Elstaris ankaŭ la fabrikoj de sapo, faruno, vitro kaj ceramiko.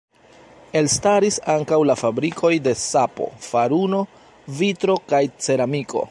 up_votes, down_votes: 1, 2